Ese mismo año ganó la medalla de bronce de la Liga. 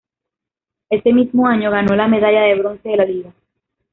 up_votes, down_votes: 1, 2